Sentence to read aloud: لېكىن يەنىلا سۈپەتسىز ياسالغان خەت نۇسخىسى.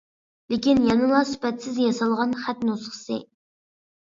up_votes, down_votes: 2, 0